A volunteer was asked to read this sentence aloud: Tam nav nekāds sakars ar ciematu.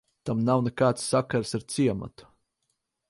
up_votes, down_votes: 6, 0